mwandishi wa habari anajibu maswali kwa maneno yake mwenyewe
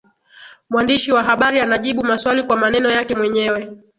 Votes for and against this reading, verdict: 2, 0, accepted